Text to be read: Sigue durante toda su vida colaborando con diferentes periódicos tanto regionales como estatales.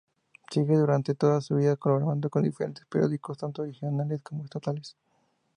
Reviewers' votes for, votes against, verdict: 4, 2, accepted